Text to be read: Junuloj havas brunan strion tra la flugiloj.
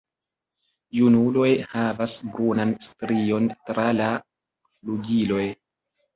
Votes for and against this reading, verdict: 3, 0, accepted